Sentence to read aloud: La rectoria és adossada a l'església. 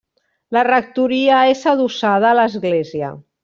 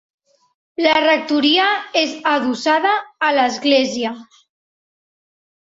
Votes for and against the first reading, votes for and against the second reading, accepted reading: 0, 2, 5, 0, second